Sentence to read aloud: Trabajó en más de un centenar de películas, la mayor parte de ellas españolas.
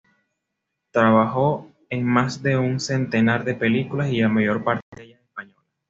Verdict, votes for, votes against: rejected, 1, 2